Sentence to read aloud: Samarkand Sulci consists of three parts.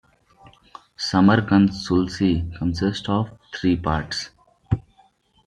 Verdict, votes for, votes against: accepted, 2, 1